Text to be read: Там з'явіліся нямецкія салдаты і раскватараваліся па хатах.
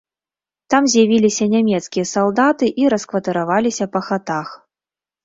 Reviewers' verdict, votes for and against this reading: rejected, 0, 2